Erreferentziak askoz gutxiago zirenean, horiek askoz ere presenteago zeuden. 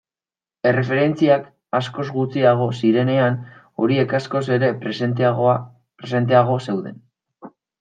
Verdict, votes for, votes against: rejected, 0, 2